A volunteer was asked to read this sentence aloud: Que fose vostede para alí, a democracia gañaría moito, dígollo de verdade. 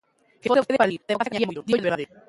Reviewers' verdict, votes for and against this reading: rejected, 0, 2